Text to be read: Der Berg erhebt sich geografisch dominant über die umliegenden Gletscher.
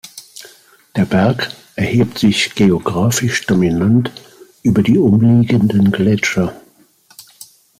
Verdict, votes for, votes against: accepted, 2, 0